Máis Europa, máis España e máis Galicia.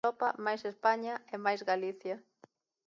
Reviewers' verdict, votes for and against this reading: rejected, 0, 2